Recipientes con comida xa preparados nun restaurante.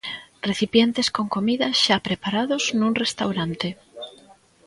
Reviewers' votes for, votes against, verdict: 0, 2, rejected